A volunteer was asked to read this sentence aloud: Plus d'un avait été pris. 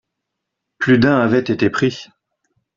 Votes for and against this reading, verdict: 2, 0, accepted